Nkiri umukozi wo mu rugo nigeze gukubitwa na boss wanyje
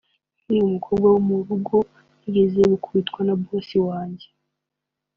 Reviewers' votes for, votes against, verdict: 2, 1, accepted